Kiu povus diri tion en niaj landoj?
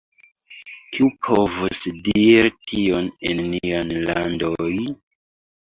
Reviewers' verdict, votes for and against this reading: rejected, 0, 2